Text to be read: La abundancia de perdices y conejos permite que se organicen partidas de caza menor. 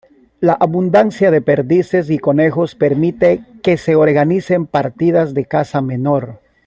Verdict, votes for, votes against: accepted, 2, 0